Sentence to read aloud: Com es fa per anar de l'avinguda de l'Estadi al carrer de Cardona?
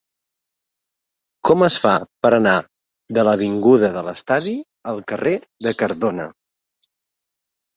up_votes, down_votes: 4, 0